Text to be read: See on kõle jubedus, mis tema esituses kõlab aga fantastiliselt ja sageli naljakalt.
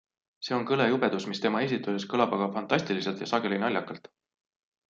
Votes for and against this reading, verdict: 2, 0, accepted